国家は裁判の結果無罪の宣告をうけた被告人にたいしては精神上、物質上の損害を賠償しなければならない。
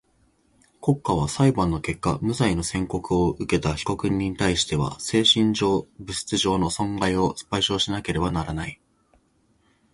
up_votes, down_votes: 2, 0